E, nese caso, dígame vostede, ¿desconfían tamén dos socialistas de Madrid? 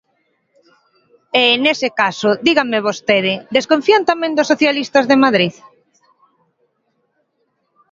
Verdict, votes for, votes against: accepted, 2, 0